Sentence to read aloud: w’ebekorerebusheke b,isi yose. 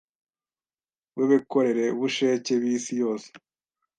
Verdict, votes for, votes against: rejected, 1, 2